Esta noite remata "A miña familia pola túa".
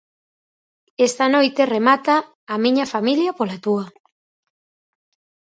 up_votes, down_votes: 4, 0